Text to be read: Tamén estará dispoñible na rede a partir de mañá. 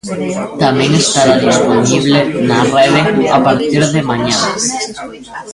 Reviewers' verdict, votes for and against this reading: rejected, 0, 2